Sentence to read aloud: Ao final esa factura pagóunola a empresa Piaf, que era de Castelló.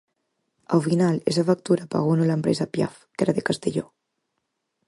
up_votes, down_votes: 4, 0